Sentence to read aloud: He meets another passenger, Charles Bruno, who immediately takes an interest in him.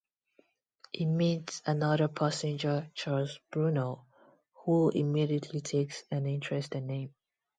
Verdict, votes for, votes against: accepted, 2, 0